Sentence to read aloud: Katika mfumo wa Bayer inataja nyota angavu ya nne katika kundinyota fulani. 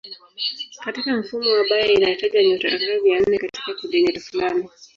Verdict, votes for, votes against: rejected, 1, 2